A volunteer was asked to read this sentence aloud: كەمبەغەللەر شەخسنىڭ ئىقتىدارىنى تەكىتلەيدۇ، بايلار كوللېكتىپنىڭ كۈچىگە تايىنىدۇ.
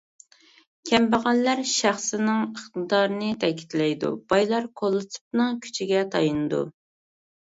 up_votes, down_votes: 1, 2